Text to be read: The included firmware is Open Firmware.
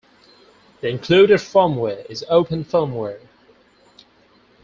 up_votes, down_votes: 4, 2